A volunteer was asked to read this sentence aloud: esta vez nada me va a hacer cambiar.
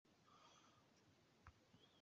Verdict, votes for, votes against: rejected, 0, 2